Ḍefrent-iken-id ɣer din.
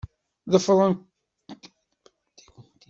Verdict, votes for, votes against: rejected, 0, 2